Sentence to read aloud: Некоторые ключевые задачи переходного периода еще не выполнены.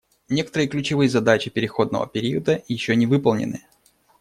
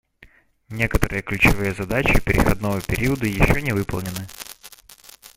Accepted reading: first